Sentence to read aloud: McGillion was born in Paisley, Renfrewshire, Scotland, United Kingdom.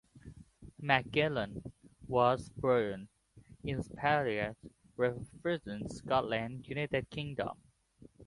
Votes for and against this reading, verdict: 1, 2, rejected